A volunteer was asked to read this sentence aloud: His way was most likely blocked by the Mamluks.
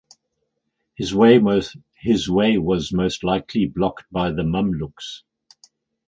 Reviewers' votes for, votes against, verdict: 0, 4, rejected